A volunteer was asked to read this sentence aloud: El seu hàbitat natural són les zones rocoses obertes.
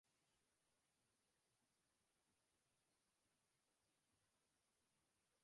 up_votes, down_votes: 0, 2